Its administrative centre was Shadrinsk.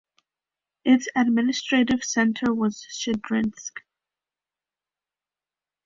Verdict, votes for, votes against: accepted, 2, 0